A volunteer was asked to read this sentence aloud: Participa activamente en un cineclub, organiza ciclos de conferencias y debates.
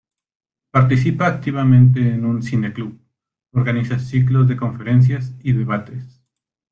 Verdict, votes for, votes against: rejected, 1, 2